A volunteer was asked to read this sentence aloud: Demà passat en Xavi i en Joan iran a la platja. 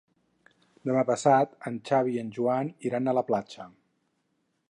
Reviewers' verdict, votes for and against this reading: accepted, 4, 0